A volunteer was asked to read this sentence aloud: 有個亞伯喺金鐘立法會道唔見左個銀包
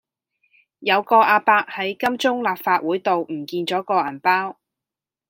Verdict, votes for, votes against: accepted, 2, 0